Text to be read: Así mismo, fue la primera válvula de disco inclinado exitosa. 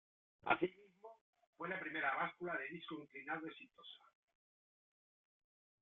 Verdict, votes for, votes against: rejected, 1, 2